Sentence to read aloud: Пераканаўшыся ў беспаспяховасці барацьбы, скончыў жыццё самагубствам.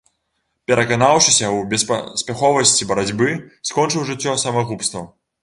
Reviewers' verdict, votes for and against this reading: rejected, 1, 2